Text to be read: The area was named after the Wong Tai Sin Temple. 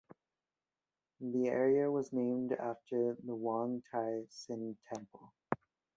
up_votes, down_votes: 2, 0